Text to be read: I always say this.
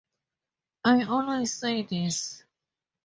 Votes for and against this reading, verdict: 4, 0, accepted